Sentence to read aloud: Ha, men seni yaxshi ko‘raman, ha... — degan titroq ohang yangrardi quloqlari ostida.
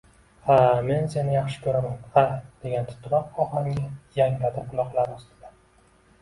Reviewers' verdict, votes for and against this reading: accepted, 2, 1